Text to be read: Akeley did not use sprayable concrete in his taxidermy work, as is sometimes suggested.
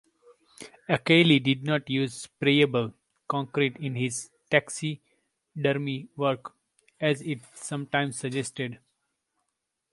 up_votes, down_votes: 2, 1